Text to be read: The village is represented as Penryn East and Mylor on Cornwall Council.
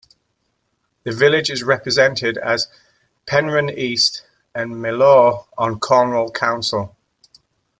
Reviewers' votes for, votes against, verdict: 2, 0, accepted